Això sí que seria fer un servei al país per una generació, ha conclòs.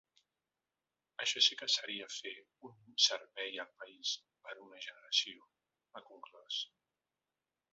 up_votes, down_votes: 0, 2